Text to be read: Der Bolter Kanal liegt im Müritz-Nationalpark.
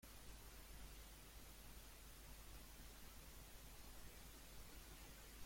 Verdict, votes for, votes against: rejected, 0, 2